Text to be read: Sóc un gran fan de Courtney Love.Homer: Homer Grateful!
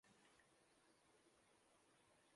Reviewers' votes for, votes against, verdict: 0, 2, rejected